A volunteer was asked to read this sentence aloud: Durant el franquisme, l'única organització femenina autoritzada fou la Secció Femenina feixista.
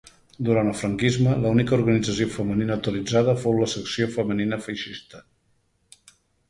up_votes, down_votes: 1, 2